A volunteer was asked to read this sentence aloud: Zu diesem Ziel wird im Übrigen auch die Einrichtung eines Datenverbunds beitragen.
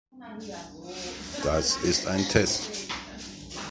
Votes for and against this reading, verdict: 0, 2, rejected